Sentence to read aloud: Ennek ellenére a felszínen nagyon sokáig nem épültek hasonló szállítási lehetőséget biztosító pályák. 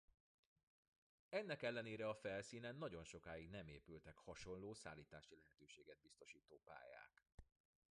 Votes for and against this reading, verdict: 0, 2, rejected